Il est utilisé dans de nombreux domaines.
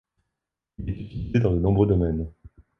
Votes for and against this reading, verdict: 1, 2, rejected